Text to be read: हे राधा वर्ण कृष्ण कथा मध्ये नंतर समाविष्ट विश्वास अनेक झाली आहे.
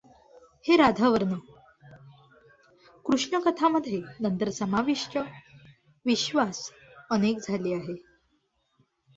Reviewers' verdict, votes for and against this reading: accepted, 2, 1